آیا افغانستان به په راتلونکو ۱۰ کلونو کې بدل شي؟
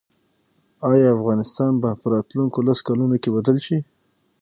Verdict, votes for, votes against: rejected, 0, 2